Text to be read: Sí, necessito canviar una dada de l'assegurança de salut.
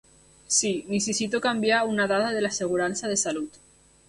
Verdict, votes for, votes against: accepted, 3, 0